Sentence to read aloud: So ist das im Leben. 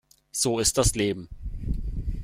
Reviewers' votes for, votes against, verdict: 0, 2, rejected